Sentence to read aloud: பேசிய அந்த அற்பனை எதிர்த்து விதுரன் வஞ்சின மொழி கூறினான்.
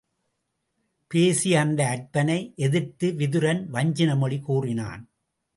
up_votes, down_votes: 2, 0